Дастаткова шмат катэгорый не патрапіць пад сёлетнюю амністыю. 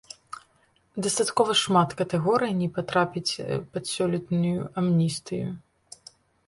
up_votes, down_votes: 2, 0